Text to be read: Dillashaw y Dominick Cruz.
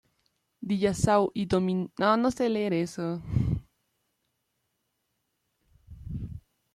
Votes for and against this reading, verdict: 0, 2, rejected